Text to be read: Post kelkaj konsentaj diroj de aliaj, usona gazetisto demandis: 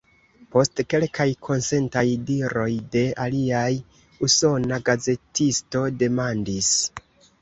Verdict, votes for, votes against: rejected, 1, 2